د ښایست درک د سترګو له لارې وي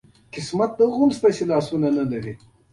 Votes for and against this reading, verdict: 1, 3, rejected